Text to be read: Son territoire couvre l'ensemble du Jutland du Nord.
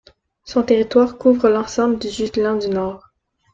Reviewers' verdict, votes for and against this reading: accepted, 2, 1